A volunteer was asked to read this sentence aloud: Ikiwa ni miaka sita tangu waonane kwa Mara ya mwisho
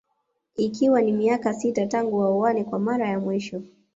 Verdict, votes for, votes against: rejected, 0, 2